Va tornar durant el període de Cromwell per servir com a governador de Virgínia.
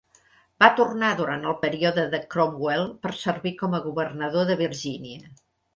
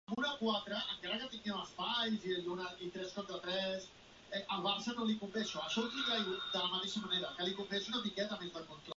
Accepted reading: first